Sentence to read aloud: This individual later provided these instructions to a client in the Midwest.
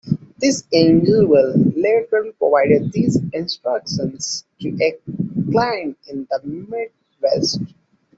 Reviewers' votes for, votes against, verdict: 0, 2, rejected